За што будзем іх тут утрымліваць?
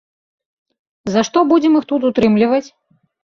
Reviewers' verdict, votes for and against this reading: accepted, 2, 0